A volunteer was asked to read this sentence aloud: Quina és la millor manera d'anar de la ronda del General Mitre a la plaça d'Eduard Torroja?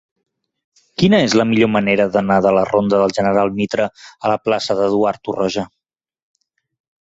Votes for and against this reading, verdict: 3, 0, accepted